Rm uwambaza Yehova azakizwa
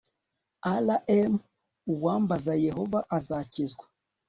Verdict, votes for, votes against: accepted, 3, 0